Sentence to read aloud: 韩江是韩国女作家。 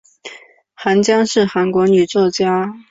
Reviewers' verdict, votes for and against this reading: accepted, 3, 0